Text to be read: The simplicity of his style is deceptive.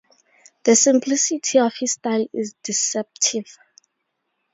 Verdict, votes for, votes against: accepted, 2, 0